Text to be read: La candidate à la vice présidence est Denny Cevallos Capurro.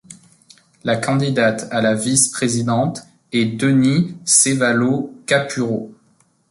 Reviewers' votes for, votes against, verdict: 0, 2, rejected